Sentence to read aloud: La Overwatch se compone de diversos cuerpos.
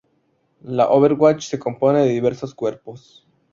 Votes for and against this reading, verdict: 0, 2, rejected